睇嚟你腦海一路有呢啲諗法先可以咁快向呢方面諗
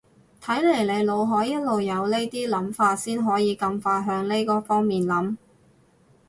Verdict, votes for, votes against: rejected, 0, 2